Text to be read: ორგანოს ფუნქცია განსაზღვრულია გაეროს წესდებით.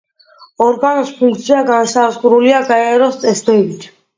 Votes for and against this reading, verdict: 2, 0, accepted